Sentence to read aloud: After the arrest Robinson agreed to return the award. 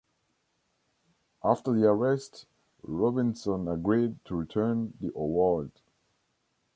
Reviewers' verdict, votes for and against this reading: accepted, 2, 1